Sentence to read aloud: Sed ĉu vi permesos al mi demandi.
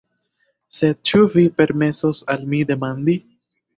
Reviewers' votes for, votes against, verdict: 1, 2, rejected